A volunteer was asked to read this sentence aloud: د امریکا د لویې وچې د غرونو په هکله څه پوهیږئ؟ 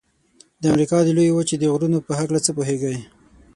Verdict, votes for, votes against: accepted, 6, 0